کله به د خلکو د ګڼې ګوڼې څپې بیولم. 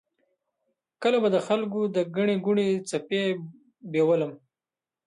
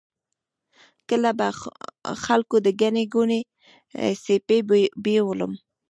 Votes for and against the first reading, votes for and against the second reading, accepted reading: 2, 0, 1, 2, first